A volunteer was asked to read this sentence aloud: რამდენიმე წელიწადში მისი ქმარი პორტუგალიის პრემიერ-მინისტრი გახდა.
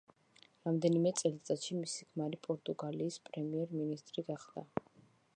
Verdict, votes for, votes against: accepted, 2, 0